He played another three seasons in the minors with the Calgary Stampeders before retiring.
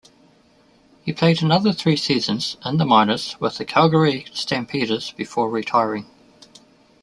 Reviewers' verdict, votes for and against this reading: accepted, 2, 0